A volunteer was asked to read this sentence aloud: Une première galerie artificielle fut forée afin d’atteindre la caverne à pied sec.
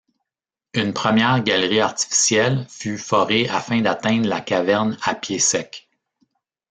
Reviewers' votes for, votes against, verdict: 1, 2, rejected